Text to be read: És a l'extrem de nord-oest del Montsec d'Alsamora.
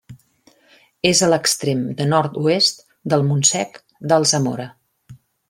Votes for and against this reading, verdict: 3, 0, accepted